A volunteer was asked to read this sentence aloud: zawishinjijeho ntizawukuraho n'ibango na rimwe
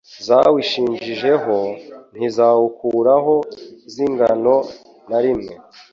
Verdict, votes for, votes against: rejected, 1, 2